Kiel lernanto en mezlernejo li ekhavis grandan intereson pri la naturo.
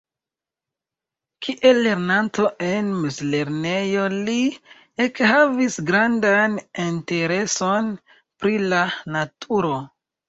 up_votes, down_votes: 2, 1